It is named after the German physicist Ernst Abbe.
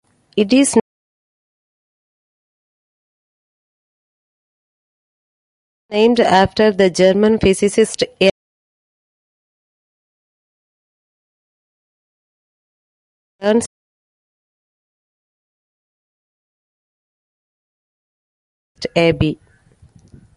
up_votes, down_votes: 0, 2